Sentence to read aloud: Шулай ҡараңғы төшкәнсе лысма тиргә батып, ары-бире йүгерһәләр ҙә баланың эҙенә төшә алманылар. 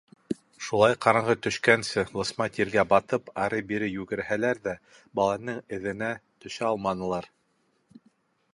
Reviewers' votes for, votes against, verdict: 2, 0, accepted